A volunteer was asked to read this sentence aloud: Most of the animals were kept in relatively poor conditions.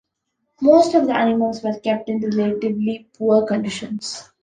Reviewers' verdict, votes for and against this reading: accepted, 2, 0